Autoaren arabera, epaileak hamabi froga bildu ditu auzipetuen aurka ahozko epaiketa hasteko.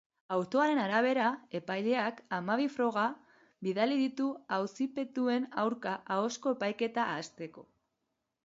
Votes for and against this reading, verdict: 3, 4, rejected